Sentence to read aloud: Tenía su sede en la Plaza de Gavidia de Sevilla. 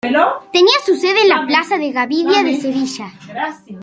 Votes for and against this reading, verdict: 1, 2, rejected